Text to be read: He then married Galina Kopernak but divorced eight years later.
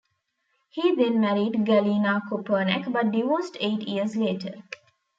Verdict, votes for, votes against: accepted, 2, 0